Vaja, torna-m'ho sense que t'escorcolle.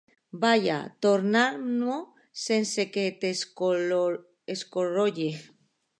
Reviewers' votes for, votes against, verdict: 0, 2, rejected